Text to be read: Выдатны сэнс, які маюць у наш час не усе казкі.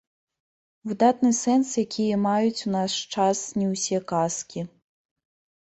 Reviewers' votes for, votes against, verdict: 0, 2, rejected